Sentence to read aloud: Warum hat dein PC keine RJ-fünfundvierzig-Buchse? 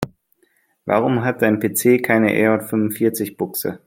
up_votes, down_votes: 2, 0